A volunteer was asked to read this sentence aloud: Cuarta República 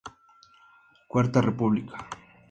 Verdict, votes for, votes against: accepted, 2, 0